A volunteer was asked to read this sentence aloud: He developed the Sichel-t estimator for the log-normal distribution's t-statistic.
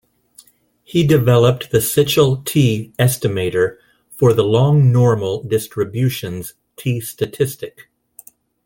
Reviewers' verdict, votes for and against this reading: rejected, 0, 2